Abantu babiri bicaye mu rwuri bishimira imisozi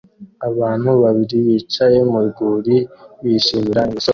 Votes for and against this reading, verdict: 1, 2, rejected